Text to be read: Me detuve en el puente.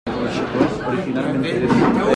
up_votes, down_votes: 0, 2